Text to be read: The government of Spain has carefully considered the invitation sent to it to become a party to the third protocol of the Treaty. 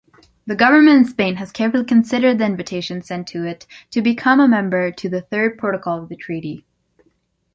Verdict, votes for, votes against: rejected, 1, 2